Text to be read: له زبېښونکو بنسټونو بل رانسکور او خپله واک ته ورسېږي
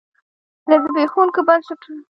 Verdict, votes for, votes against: rejected, 1, 2